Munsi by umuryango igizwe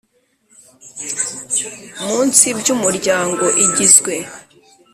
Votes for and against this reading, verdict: 2, 0, accepted